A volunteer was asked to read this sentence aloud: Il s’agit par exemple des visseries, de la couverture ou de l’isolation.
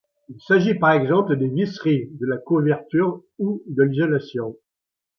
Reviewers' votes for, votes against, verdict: 2, 0, accepted